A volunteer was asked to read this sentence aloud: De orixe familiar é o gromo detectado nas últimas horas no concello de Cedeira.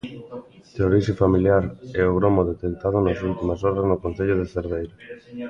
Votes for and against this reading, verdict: 0, 2, rejected